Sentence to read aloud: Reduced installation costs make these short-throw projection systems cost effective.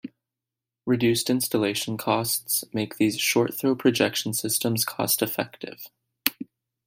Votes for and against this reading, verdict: 2, 0, accepted